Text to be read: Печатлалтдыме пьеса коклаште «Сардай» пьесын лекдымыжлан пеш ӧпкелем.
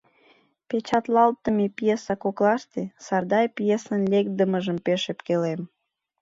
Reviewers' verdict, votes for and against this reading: rejected, 1, 3